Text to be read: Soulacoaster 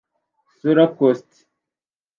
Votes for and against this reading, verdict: 0, 2, rejected